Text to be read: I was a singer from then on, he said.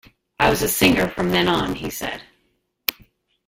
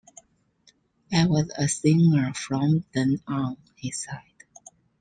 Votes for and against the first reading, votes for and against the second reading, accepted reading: 1, 2, 2, 0, second